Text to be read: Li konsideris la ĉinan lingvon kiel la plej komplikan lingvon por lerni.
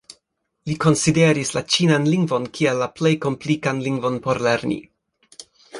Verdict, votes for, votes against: accepted, 3, 0